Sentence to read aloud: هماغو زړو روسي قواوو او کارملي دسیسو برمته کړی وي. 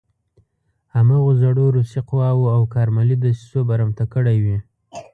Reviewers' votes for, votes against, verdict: 2, 0, accepted